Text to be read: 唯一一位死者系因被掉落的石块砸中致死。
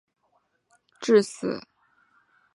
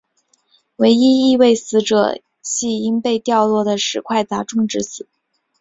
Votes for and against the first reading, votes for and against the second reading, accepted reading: 0, 3, 2, 0, second